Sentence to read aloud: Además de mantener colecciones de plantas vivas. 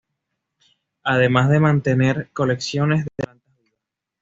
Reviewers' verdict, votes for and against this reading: rejected, 1, 2